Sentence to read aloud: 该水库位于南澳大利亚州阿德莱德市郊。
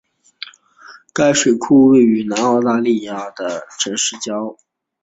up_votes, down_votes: 2, 0